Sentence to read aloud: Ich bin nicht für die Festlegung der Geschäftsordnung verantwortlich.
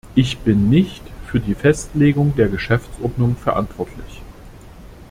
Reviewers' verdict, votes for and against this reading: accepted, 2, 0